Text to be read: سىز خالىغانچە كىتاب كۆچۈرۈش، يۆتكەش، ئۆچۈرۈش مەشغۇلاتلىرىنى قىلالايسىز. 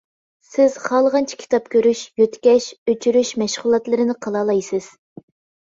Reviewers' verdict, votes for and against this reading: rejected, 0, 2